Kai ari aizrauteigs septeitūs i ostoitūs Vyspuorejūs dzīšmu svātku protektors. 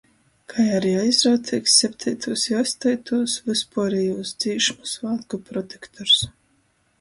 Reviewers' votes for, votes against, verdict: 2, 0, accepted